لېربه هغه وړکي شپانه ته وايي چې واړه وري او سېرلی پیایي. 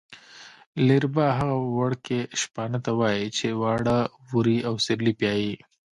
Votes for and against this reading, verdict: 2, 0, accepted